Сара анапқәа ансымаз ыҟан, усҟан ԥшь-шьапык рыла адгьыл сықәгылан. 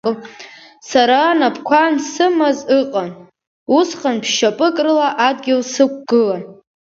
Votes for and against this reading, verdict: 2, 0, accepted